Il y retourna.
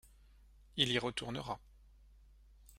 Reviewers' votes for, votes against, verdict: 0, 2, rejected